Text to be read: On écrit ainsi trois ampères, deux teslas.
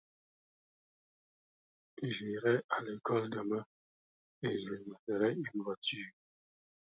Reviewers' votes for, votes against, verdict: 0, 2, rejected